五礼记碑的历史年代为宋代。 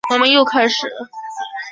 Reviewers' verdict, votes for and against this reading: rejected, 0, 2